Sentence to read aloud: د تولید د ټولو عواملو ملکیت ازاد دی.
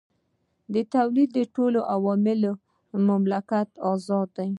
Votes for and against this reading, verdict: 1, 2, rejected